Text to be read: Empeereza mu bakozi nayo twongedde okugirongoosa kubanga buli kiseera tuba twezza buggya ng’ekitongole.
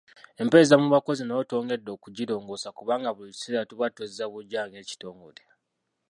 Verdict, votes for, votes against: rejected, 1, 2